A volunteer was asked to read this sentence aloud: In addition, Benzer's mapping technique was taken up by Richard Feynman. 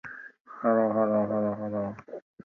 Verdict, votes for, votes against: rejected, 0, 2